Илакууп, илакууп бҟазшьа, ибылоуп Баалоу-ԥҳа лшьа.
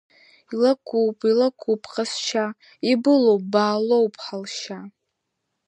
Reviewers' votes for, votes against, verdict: 2, 0, accepted